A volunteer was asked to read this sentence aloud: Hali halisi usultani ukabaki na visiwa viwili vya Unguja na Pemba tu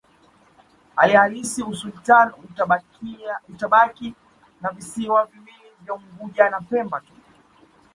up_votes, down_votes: 2, 0